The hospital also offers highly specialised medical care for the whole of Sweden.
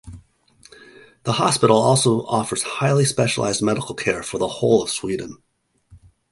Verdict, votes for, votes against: accepted, 2, 1